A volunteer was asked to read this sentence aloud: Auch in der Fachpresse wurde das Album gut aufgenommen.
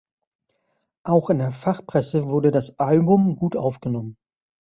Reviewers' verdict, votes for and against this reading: accepted, 2, 0